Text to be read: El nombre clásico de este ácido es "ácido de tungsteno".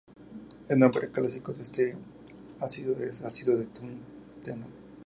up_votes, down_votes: 2, 0